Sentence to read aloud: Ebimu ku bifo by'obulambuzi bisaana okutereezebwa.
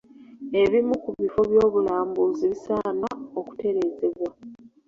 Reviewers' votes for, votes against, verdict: 1, 2, rejected